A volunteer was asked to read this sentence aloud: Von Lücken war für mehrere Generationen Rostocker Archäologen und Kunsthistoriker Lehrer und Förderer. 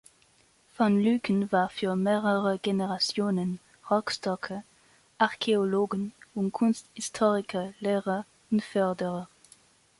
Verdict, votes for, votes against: rejected, 1, 2